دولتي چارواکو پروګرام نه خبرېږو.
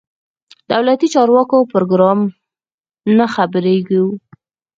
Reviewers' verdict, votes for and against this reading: accepted, 4, 2